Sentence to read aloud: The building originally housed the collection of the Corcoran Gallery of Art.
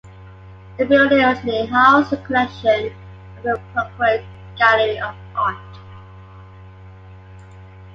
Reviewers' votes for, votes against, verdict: 0, 2, rejected